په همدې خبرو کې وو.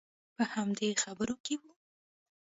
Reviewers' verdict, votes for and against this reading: accepted, 2, 0